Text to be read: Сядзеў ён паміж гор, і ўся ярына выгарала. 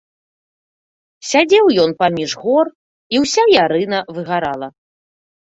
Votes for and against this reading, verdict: 2, 0, accepted